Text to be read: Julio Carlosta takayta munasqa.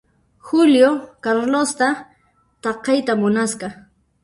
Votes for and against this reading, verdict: 2, 1, accepted